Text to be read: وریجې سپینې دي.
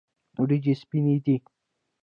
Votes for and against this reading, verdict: 0, 2, rejected